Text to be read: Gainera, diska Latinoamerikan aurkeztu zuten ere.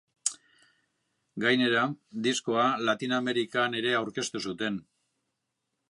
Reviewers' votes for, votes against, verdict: 0, 3, rejected